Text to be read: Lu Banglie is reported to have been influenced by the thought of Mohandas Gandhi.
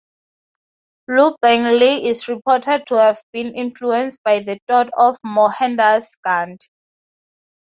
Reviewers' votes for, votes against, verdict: 2, 2, rejected